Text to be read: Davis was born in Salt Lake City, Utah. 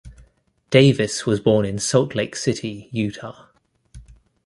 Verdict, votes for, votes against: accepted, 2, 0